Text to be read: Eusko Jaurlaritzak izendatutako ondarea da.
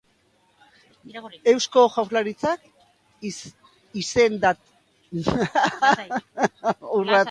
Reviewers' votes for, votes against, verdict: 1, 3, rejected